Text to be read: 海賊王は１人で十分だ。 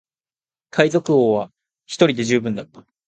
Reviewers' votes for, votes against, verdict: 0, 2, rejected